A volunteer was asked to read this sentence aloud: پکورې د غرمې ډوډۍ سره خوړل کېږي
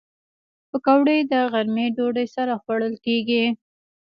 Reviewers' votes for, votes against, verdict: 1, 2, rejected